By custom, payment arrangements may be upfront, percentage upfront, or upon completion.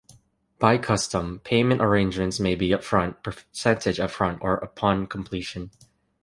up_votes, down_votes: 1, 2